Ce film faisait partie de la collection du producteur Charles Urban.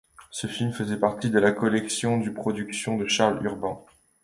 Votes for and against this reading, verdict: 1, 2, rejected